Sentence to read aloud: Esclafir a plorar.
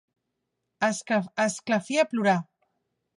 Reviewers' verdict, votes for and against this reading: rejected, 1, 2